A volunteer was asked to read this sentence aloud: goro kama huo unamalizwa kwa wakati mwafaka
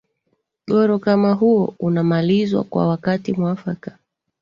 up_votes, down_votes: 2, 0